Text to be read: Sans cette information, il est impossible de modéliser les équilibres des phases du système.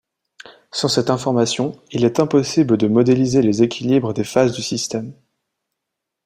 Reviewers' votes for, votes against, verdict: 2, 0, accepted